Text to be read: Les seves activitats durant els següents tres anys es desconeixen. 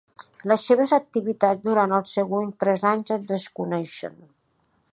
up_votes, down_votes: 2, 0